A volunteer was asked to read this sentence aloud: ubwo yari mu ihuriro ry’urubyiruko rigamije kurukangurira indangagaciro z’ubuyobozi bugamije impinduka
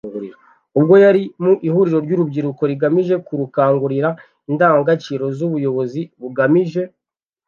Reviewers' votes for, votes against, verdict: 1, 2, rejected